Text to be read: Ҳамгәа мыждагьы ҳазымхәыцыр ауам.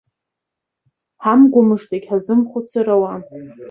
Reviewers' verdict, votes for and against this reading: rejected, 1, 2